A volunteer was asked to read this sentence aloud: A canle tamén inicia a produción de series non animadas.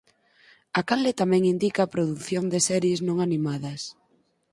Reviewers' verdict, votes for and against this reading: rejected, 0, 4